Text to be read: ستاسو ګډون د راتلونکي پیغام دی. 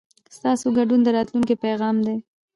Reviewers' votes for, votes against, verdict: 2, 0, accepted